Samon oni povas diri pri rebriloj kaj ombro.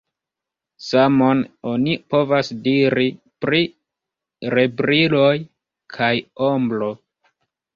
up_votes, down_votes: 0, 2